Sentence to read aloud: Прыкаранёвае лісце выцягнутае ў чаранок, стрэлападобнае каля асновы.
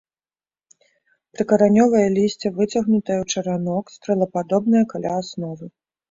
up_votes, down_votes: 2, 0